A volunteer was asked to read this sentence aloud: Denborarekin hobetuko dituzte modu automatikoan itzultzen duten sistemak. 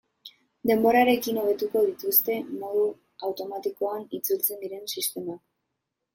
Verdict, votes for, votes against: rejected, 0, 3